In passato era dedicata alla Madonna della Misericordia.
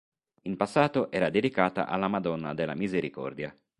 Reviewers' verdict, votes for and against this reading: accepted, 2, 0